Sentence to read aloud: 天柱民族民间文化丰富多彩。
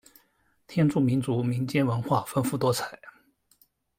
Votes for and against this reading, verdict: 1, 2, rejected